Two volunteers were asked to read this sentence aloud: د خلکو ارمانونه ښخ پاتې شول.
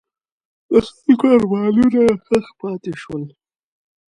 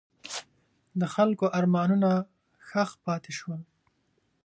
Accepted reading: second